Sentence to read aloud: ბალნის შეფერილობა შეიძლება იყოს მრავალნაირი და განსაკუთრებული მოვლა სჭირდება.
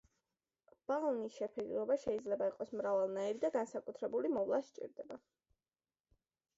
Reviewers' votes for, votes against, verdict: 2, 0, accepted